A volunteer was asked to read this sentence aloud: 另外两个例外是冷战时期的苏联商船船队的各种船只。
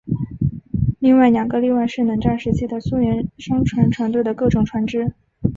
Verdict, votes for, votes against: accepted, 3, 0